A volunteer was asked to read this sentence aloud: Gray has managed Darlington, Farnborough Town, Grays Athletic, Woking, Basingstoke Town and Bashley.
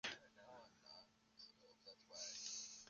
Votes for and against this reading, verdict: 0, 2, rejected